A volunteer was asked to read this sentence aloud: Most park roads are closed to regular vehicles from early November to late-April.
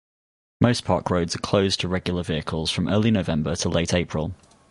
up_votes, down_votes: 2, 2